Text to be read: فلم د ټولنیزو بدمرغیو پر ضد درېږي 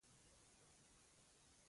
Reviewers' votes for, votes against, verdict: 0, 2, rejected